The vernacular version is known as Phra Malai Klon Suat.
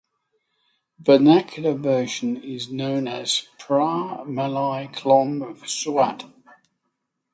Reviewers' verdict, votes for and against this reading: rejected, 3, 3